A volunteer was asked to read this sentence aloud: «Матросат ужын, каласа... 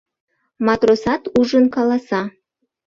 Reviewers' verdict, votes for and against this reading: accepted, 2, 0